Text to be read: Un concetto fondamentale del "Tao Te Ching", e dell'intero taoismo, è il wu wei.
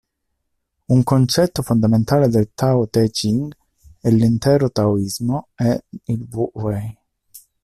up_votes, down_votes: 0, 2